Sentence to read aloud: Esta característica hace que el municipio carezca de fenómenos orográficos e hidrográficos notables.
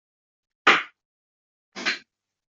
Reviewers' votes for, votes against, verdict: 0, 2, rejected